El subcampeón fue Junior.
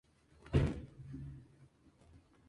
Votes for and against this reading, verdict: 0, 2, rejected